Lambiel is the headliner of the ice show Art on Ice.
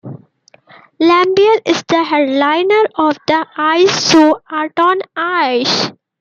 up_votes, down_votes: 2, 1